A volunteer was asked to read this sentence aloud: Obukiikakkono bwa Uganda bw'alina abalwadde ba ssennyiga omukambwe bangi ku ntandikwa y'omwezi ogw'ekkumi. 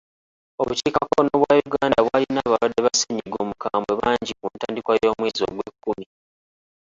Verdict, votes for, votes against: rejected, 1, 2